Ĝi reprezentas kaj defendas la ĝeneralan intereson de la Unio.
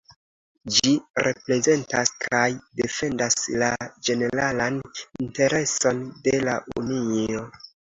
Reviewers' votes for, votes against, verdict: 0, 2, rejected